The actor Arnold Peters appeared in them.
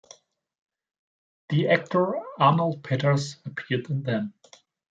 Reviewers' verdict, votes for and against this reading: rejected, 1, 2